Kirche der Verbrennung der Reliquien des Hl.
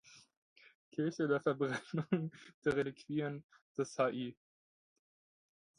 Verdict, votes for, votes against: rejected, 0, 2